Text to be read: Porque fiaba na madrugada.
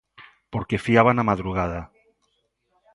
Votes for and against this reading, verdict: 2, 0, accepted